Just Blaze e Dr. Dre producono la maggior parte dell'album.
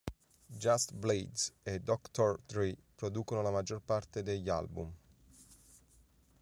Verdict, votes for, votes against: rejected, 0, 3